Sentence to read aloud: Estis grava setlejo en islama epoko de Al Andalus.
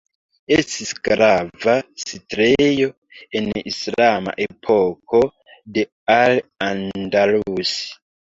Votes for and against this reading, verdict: 2, 0, accepted